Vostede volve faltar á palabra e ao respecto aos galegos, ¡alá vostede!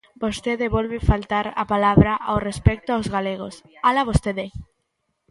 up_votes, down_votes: 0, 2